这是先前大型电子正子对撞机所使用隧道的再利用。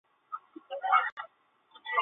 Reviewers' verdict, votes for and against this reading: rejected, 0, 2